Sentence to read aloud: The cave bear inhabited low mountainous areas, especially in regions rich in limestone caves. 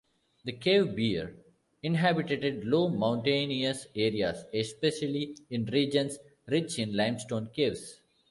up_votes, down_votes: 1, 3